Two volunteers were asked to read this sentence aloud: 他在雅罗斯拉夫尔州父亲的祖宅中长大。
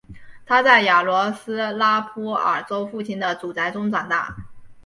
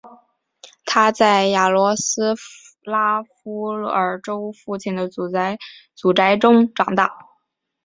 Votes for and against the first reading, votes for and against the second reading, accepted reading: 5, 0, 2, 4, first